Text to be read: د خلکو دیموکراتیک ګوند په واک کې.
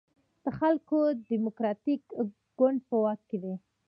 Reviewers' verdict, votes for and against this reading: rejected, 1, 2